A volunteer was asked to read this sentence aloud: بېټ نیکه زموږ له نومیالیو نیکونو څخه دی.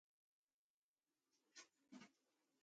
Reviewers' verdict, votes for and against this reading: rejected, 1, 2